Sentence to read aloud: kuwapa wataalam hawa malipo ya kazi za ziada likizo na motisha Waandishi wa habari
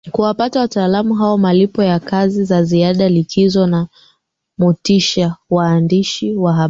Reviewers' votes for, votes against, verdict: 2, 0, accepted